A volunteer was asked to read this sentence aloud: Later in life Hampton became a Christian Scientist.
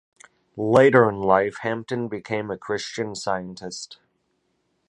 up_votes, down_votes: 2, 0